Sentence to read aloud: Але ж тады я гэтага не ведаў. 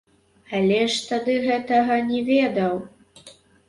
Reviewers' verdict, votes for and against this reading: rejected, 0, 3